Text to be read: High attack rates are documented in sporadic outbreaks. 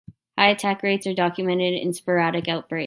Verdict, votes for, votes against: rejected, 1, 2